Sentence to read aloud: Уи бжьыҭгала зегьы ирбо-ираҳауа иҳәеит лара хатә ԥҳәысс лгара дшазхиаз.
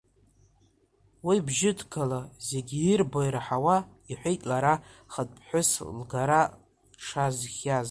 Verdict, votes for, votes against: rejected, 1, 2